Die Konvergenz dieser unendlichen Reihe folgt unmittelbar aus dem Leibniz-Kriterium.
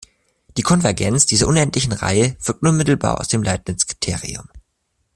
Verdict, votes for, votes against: rejected, 1, 2